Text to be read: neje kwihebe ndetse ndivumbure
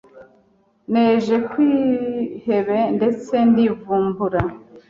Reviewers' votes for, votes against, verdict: 1, 2, rejected